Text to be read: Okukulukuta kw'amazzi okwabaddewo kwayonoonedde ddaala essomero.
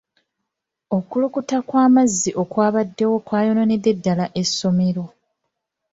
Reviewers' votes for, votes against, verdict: 2, 1, accepted